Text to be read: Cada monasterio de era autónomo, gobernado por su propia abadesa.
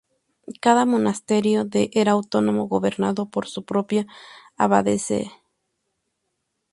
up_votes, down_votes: 0, 2